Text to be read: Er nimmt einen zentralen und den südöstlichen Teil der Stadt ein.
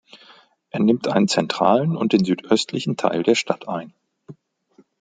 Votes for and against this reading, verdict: 2, 0, accepted